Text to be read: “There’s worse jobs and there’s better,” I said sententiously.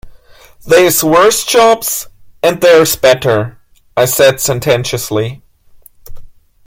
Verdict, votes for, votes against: rejected, 0, 2